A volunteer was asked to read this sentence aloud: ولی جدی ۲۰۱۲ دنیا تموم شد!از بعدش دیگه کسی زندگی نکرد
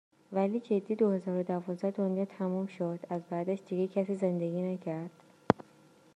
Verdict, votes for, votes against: rejected, 0, 2